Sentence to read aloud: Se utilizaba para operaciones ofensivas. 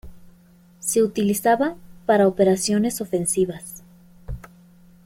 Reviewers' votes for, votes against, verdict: 2, 0, accepted